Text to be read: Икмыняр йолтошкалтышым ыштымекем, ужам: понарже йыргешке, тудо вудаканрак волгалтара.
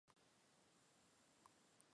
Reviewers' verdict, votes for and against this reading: rejected, 1, 2